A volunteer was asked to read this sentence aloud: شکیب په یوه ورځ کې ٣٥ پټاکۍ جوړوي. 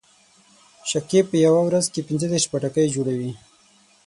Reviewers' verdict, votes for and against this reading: rejected, 0, 2